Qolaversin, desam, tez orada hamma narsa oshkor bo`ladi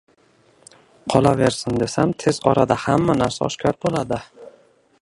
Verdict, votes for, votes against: rejected, 1, 2